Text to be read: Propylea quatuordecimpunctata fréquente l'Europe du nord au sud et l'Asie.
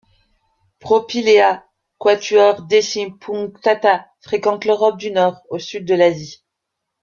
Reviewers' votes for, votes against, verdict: 1, 2, rejected